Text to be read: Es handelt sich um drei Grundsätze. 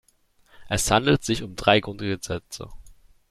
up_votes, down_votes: 0, 2